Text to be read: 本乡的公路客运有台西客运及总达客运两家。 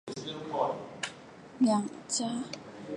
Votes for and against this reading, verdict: 0, 3, rejected